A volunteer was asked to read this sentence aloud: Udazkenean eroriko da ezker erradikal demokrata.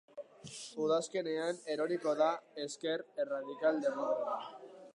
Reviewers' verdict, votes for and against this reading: rejected, 0, 2